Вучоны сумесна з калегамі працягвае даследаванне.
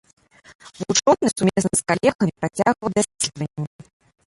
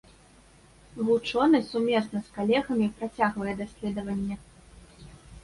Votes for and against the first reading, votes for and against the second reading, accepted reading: 0, 2, 2, 0, second